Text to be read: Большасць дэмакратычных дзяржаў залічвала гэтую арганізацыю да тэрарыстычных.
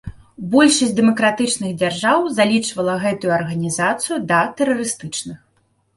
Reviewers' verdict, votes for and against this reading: accepted, 2, 0